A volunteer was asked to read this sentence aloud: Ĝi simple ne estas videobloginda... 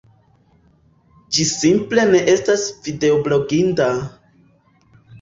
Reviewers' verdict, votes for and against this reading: rejected, 1, 2